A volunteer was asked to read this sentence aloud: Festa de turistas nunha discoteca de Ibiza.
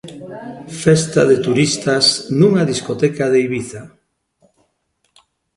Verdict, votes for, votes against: accepted, 2, 0